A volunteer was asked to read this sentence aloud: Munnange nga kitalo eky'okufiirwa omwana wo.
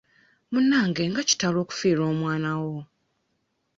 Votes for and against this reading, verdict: 0, 2, rejected